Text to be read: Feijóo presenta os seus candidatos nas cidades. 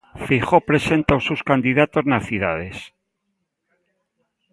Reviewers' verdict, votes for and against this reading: accepted, 2, 0